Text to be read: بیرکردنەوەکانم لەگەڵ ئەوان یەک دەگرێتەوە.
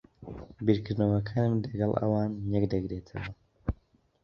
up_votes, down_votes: 0, 2